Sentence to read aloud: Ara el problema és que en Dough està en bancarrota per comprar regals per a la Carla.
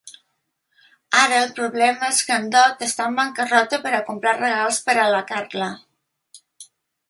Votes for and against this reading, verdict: 1, 2, rejected